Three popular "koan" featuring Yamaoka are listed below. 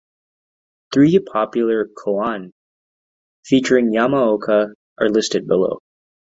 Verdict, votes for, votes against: accepted, 2, 1